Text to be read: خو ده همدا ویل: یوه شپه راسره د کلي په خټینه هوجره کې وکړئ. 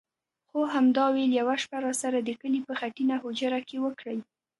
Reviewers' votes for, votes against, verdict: 0, 2, rejected